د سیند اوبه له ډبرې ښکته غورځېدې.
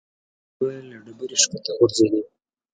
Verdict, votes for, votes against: rejected, 0, 2